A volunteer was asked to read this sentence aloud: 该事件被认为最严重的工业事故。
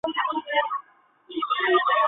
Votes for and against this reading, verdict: 0, 2, rejected